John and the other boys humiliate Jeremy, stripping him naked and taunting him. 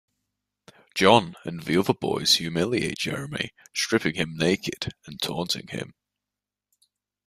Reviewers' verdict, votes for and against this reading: accepted, 2, 1